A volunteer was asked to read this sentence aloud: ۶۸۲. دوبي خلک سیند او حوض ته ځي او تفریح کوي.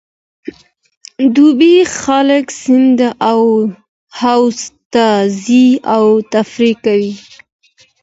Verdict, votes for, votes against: rejected, 0, 2